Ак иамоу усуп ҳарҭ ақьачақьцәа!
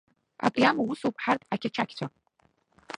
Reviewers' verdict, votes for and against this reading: rejected, 0, 2